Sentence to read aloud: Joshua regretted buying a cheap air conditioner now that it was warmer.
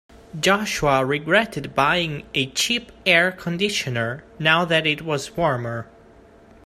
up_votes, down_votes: 2, 0